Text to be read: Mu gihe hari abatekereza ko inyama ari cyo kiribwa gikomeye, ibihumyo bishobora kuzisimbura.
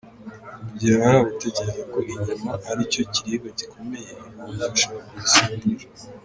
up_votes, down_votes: 2, 1